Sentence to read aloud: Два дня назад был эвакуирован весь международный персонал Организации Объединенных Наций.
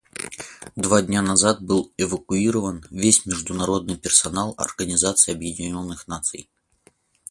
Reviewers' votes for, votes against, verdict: 4, 4, rejected